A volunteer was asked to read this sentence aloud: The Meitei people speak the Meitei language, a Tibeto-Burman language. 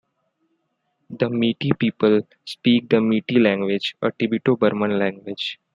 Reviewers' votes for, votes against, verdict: 1, 2, rejected